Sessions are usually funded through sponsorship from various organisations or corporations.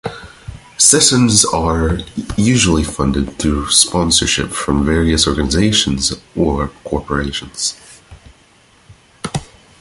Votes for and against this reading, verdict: 2, 0, accepted